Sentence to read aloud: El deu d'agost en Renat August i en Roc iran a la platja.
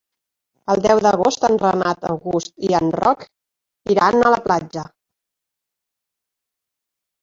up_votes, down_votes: 1, 2